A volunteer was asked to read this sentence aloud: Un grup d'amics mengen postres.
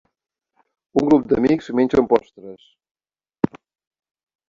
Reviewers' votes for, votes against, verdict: 0, 2, rejected